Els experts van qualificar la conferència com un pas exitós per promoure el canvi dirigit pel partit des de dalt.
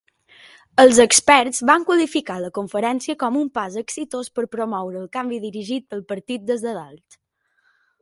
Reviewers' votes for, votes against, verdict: 2, 0, accepted